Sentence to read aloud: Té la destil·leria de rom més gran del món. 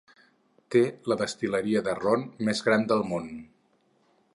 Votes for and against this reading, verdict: 2, 4, rejected